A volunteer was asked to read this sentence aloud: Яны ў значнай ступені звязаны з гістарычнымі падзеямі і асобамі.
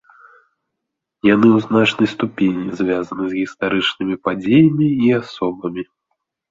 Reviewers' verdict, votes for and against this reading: accepted, 2, 0